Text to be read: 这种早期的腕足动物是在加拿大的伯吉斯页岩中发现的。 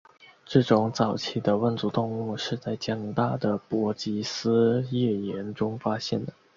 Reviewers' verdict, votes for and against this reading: rejected, 1, 2